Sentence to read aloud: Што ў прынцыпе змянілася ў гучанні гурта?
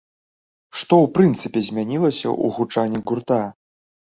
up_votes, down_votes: 1, 2